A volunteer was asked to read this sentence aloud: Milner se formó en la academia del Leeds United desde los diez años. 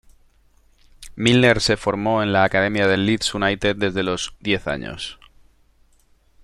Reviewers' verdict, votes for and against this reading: rejected, 1, 2